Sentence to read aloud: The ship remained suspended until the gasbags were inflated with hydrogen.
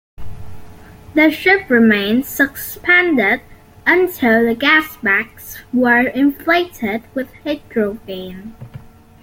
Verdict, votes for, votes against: rejected, 0, 2